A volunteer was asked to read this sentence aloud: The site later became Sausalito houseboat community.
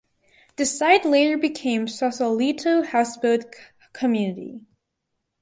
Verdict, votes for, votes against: rejected, 2, 2